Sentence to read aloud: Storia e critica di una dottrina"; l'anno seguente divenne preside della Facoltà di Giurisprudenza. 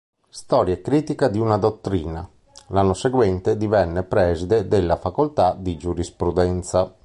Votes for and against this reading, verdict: 4, 0, accepted